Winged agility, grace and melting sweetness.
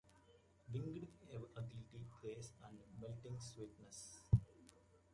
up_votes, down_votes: 0, 2